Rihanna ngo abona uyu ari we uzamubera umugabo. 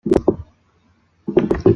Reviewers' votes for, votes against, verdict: 0, 2, rejected